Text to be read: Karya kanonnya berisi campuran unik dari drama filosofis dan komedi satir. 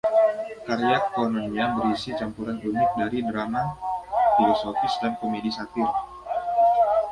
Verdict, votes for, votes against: rejected, 1, 2